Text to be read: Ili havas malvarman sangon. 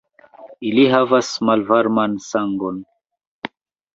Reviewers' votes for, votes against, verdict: 0, 2, rejected